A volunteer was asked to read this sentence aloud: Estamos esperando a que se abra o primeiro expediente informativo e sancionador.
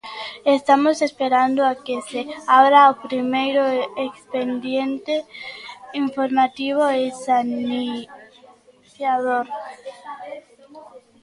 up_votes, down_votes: 0, 2